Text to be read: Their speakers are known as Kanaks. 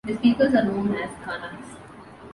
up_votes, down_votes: 1, 2